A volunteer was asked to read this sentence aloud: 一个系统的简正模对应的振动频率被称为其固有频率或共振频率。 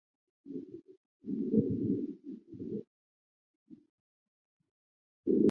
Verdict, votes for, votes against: rejected, 0, 2